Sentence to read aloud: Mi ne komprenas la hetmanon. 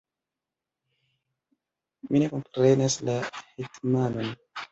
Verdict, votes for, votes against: accepted, 2, 1